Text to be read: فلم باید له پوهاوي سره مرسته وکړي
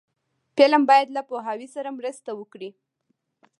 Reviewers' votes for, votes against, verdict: 2, 0, accepted